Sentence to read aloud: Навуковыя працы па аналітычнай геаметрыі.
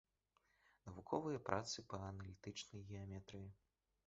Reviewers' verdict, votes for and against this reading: rejected, 0, 2